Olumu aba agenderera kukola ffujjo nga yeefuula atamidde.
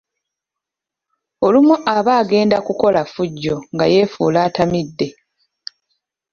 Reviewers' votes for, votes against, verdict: 0, 2, rejected